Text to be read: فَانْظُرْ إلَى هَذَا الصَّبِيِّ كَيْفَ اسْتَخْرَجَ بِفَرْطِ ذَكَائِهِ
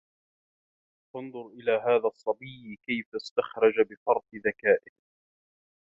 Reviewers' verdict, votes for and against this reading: accepted, 2, 0